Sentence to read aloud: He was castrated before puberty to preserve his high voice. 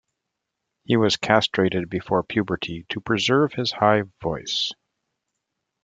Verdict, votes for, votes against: accepted, 2, 0